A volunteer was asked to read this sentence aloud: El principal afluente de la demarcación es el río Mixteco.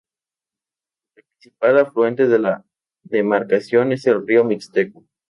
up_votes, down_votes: 2, 2